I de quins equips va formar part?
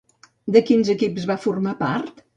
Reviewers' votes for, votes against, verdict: 1, 2, rejected